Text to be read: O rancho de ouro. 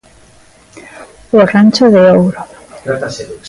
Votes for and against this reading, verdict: 1, 2, rejected